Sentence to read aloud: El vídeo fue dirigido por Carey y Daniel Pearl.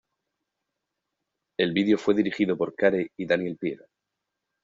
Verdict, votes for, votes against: accepted, 2, 1